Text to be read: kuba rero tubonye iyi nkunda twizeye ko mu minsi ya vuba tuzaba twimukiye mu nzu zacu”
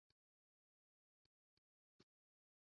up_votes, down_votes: 0, 2